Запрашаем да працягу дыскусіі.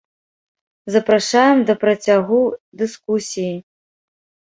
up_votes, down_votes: 0, 2